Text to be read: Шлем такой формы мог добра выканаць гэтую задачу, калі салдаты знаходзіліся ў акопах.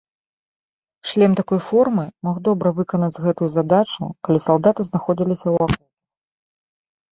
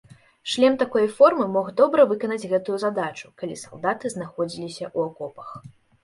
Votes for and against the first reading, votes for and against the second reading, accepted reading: 0, 2, 2, 0, second